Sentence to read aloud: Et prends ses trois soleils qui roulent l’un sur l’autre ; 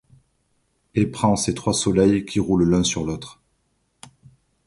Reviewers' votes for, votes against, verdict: 2, 0, accepted